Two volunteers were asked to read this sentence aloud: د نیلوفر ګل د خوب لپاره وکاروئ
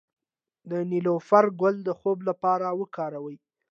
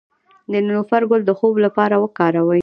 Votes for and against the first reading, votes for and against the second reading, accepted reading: 2, 0, 0, 2, first